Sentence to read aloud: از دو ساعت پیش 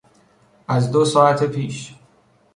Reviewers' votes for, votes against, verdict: 2, 0, accepted